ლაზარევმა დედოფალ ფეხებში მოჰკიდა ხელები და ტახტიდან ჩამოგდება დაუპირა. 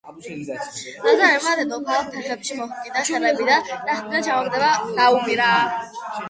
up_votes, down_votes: 0, 2